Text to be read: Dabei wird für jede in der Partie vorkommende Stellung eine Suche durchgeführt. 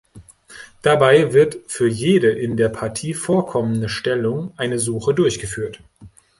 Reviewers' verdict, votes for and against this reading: accepted, 2, 0